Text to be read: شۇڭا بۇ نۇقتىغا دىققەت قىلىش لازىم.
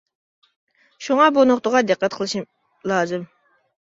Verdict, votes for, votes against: rejected, 0, 2